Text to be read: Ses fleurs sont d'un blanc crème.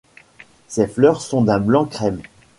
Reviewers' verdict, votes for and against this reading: accepted, 2, 1